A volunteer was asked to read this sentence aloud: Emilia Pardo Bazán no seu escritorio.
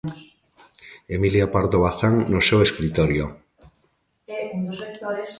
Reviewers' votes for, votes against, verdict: 1, 2, rejected